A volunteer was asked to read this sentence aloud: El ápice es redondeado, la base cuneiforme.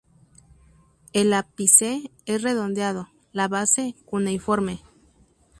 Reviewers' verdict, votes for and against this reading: accepted, 2, 0